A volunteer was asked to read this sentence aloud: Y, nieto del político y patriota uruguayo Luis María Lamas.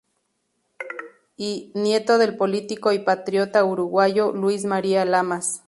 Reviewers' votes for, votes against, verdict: 2, 0, accepted